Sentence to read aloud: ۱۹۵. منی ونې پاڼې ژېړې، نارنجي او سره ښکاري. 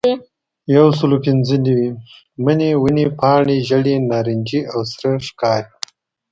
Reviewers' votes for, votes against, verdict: 0, 2, rejected